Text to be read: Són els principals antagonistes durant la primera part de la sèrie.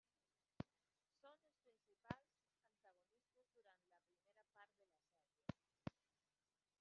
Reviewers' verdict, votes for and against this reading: rejected, 0, 2